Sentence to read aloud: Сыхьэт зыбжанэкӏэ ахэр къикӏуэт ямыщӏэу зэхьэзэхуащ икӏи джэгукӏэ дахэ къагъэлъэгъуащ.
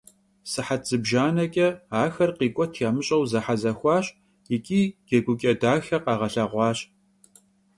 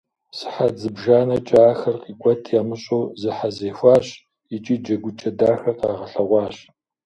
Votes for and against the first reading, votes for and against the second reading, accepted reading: 3, 0, 1, 2, first